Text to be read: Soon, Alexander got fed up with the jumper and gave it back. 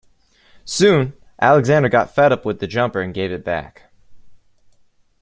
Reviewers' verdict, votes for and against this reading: accepted, 2, 0